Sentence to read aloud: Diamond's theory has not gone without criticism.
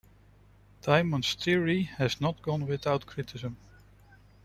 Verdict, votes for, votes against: rejected, 1, 2